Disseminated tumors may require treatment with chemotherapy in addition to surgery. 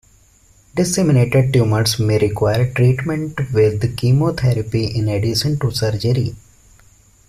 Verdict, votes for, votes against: accepted, 2, 1